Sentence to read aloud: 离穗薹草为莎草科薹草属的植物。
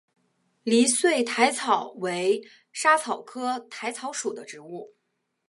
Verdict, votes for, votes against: accepted, 3, 1